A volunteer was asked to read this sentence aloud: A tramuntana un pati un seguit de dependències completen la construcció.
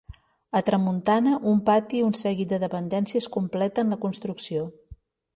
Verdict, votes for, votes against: accepted, 2, 0